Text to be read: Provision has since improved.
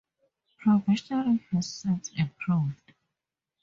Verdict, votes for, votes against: accepted, 2, 0